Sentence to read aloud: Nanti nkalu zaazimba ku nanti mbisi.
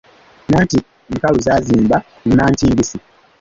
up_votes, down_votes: 1, 2